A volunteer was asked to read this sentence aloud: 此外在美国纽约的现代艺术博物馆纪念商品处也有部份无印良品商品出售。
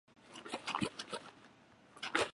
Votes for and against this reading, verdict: 1, 2, rejected